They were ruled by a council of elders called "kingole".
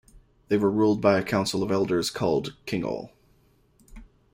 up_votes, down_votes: 2, 0